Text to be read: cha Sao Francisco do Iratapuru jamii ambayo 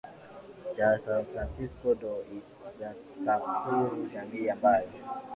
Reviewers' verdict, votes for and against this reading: rejected, 7, 7